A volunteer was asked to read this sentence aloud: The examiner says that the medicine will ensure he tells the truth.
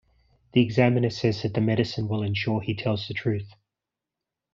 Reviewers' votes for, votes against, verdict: 2, 0, accepted